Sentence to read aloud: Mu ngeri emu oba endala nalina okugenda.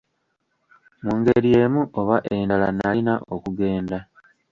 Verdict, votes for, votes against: rejected, 1, 2